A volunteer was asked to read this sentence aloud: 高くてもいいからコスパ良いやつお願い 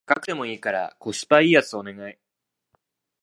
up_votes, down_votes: 0, 2